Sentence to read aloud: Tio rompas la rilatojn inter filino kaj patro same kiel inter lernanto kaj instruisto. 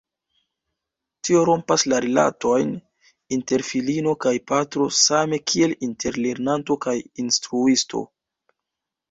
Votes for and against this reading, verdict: 2, 0, accepted